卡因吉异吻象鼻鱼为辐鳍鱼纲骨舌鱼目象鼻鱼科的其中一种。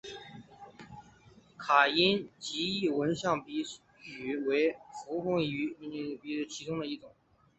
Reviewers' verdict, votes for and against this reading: rejected, 1, 2